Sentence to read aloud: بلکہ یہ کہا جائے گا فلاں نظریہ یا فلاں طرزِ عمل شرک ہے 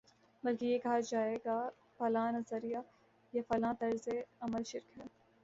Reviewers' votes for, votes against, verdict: 2, 0, accepted